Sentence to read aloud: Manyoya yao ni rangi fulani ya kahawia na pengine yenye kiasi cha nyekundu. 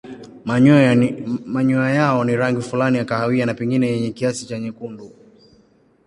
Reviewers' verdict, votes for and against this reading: rejected, 0, 2